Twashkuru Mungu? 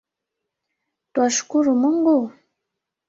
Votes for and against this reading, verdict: 2, 1, accepted